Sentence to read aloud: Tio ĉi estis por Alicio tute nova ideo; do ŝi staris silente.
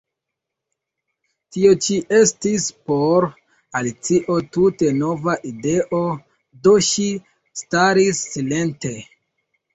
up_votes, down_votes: 2, 0